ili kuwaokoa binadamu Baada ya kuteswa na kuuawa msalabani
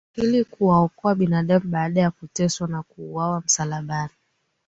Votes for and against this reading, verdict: 2, 1, accepted